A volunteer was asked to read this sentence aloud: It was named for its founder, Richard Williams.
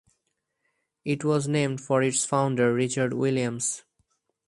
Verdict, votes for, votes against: accepted, 6, 2